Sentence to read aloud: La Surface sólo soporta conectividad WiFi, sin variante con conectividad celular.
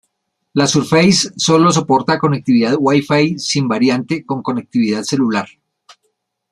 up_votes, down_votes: 0, 2